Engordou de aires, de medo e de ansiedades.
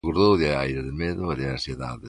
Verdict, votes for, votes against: rejected, 0, 2